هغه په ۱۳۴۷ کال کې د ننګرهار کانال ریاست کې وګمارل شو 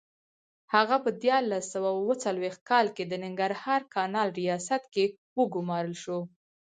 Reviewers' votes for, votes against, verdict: 0, 2, rejected